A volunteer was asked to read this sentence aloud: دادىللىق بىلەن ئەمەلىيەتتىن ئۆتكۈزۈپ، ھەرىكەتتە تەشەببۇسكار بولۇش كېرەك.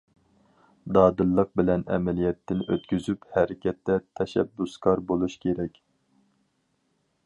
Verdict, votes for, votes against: accepted, 4, 0